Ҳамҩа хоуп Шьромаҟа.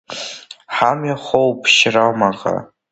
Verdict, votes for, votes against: accepted, 2, 1